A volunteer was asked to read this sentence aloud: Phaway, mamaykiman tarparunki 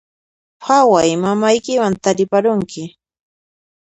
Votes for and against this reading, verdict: 1, 2, rejected